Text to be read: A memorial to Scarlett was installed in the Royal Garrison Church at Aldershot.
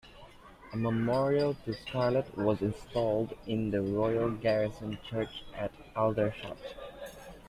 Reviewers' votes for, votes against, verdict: 2, 0, accepted